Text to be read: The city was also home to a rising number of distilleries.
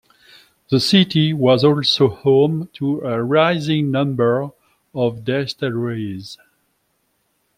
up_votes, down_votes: 2, 1